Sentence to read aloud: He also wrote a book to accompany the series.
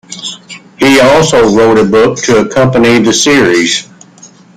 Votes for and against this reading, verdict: 2, 1, accepted